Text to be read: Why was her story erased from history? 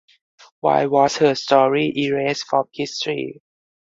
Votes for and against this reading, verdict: 4, 2, accepted